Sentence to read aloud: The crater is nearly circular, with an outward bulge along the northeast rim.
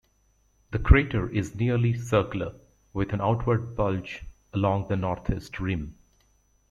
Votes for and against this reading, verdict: 3, 0, accepted